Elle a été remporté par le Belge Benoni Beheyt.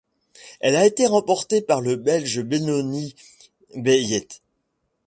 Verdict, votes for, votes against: rejected, 0, 2